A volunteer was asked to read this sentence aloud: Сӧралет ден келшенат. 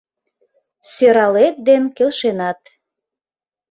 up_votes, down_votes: 2, 0